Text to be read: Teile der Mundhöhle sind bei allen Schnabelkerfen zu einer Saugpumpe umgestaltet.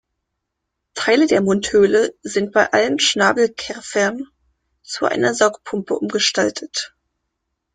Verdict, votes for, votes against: rejected, 0, 2